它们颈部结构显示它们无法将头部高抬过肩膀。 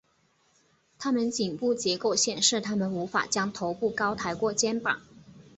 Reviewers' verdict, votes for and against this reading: accepted, 6, 0